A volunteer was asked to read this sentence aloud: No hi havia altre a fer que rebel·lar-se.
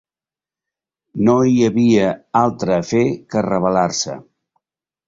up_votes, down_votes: 2, 0